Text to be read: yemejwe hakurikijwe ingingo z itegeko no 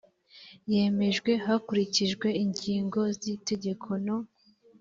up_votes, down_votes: 2, 0